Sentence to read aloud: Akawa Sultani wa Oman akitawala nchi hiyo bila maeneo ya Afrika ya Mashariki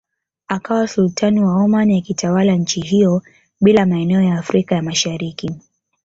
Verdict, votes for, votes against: accepted, 2, 0